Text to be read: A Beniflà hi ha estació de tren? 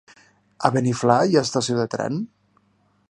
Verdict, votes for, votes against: accepted, 2, 0